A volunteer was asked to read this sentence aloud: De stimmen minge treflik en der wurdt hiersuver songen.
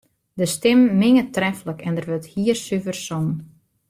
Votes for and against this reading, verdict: 2, 0, accepted